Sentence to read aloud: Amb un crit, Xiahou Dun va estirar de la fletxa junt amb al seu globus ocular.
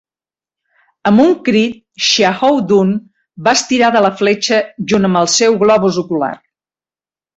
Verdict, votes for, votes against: accepted, 2, 0